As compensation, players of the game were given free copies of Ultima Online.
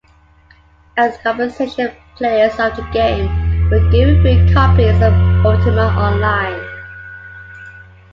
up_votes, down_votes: 2, 0